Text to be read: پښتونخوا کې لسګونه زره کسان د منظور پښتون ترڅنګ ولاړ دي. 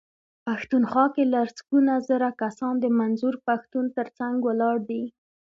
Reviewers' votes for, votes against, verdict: 2, 1, accepted